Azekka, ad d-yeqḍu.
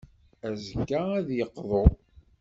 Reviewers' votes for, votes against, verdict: 2, 0, accepted